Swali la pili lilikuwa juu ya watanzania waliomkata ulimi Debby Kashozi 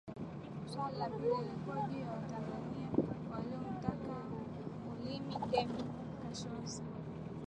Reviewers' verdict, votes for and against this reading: rejected, 0, 2